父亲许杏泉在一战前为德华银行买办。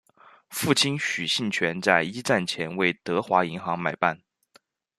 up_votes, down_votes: 2, 0